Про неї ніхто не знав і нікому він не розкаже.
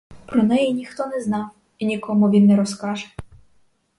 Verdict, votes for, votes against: accepted, 4, 0